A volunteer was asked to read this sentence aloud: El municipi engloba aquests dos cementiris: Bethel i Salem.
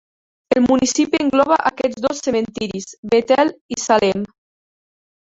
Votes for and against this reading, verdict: 1, 2, rejected